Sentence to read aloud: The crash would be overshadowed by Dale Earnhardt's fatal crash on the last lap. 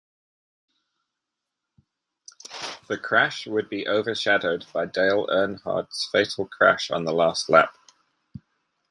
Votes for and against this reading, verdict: 1, 2, rejected